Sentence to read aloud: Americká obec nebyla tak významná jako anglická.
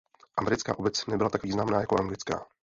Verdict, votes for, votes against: rejected, 0, 2